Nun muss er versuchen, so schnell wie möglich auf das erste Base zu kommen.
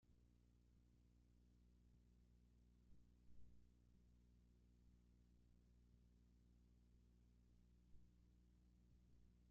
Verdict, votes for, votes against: rejected, 0, 3